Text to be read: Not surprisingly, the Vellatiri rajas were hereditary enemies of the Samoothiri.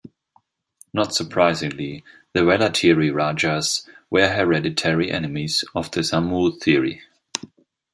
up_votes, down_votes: 2, 0